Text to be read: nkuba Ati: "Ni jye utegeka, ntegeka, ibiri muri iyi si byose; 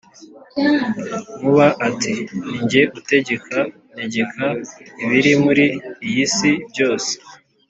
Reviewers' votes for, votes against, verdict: 2, 0, accepted